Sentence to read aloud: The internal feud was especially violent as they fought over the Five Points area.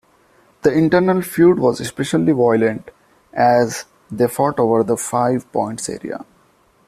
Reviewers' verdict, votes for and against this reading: accepted, 2, 0